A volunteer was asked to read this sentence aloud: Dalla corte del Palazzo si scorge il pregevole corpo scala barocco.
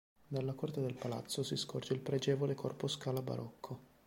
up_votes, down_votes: 2, 0